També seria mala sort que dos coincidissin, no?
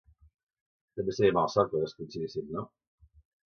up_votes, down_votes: 1, 2